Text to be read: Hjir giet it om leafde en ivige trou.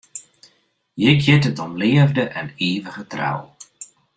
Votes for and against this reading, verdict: 2, 0, accepted